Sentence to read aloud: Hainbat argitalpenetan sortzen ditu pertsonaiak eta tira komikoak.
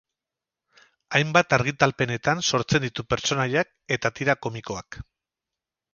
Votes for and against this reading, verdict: 2, 2, rejected